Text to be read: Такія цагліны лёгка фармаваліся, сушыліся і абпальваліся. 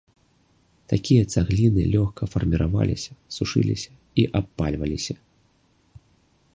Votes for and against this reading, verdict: 1, 2, rejected